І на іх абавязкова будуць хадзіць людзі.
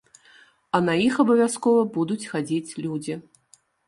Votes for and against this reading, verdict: 1, 2, rejected